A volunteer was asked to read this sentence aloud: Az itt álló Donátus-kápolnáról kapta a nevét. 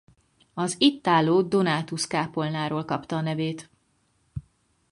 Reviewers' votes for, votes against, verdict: 4, 0, accepted